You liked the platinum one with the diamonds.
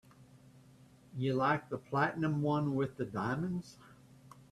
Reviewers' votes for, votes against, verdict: 3, 0, accepted